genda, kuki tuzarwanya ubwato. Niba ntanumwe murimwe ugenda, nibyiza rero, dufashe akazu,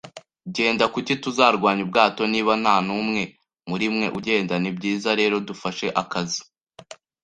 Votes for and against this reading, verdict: 2, 0, accepted